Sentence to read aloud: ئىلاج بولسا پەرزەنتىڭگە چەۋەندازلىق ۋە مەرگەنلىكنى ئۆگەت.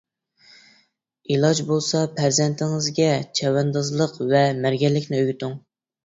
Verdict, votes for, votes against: rejected, 0, 2